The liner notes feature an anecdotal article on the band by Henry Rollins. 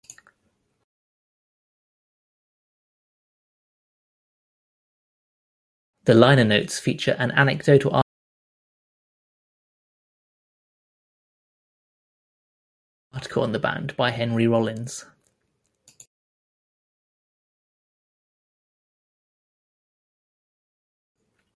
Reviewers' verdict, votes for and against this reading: rejected, 0, 2